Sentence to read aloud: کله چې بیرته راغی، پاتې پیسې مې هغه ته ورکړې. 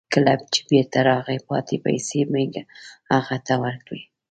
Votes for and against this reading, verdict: 2, 0, accepted